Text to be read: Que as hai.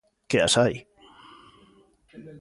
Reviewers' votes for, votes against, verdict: 2, 0, accepted